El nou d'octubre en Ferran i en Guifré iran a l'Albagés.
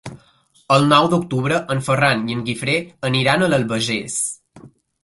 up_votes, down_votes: 1, 2